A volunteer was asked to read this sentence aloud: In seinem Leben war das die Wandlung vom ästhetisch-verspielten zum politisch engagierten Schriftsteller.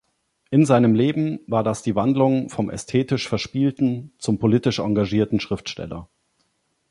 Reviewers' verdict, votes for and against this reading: accepted, 2, 0